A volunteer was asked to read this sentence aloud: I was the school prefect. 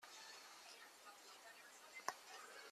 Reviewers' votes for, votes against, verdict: 0, 2, rejected